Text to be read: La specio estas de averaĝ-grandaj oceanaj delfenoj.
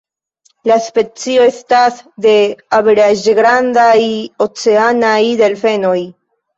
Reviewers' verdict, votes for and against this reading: accepted, 2, 1